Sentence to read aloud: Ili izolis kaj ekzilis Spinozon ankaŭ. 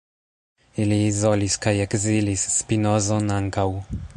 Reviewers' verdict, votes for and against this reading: rejected, 0, 2